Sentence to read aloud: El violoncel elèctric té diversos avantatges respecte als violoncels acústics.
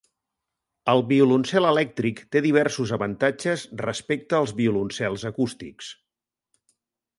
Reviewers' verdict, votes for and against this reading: accepted, 5, 0